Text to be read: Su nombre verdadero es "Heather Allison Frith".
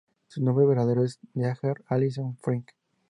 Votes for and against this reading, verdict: 2, 0, accepted